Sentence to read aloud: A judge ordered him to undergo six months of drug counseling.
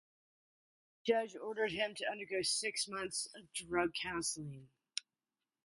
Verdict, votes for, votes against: accepted, 4, 2